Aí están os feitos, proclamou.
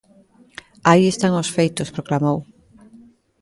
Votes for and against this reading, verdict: 2, 0, accepted